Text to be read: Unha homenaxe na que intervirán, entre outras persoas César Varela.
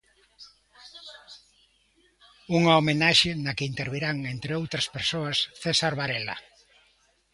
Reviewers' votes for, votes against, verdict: 2, 0, accepted